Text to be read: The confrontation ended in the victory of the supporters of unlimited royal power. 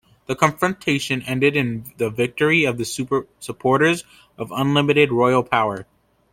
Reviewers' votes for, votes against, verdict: 0, 2, rejected